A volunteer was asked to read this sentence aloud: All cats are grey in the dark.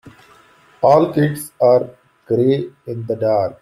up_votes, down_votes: 1, 2